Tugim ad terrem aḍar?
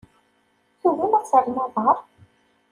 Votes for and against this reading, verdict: 1, 2, rejected